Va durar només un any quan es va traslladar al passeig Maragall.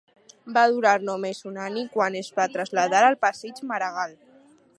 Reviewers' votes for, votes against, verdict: 0, 4, rejected